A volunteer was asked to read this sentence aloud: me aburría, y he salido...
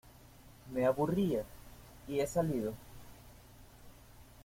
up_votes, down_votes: 2, 0